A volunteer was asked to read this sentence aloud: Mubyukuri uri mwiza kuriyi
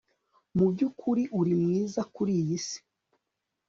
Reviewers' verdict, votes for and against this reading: rejected, 0, 2